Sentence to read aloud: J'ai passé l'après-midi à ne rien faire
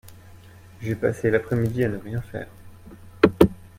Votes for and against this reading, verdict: 2, 0, accepted